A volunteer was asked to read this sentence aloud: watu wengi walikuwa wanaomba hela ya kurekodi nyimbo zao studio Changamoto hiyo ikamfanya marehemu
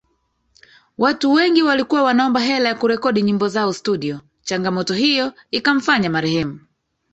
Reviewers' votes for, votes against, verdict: 1, 2, rejected